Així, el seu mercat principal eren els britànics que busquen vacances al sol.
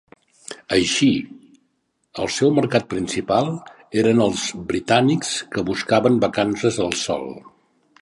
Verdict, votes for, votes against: rejected, 0, 3